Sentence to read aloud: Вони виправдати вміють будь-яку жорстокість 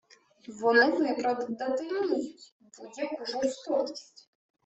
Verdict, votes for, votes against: rejected, 1, 2